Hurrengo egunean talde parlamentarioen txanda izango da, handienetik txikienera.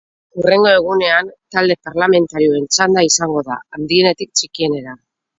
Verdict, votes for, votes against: accepted, 2, 0